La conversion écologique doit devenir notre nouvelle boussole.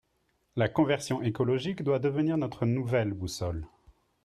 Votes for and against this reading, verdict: 3, 0, accepted